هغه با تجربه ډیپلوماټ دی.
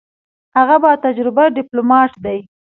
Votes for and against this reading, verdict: 1, 2, rejected